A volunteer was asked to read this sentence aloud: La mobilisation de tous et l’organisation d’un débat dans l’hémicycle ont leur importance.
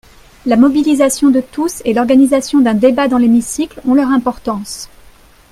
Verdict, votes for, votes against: accepted, 3, 0